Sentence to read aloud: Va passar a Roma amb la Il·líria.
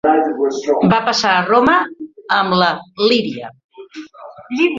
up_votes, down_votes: 0, 2